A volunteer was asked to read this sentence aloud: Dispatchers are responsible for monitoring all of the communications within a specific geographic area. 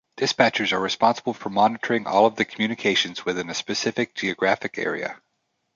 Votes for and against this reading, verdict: 2, 0, accepted